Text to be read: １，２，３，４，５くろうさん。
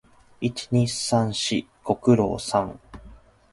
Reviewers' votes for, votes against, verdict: 0, 2, rejected